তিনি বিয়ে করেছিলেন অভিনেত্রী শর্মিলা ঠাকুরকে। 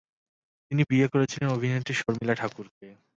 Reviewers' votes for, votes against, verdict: 2, 0, accepted